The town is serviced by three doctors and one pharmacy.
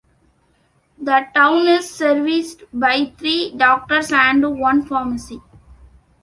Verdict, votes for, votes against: accepted, 2, 0